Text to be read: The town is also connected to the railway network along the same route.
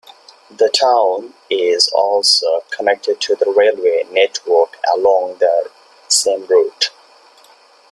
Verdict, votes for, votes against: rejected, 1, 2